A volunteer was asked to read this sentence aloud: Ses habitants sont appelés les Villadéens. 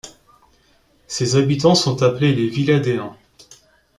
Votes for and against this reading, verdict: 2, 0, accepted